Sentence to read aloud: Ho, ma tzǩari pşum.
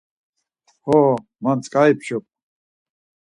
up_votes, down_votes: 4, 0